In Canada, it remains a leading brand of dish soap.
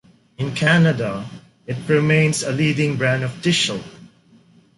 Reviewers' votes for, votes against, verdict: 2, 0, accepted